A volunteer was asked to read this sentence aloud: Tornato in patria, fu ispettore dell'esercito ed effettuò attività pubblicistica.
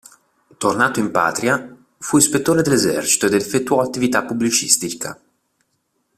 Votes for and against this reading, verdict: 0, 2, rejected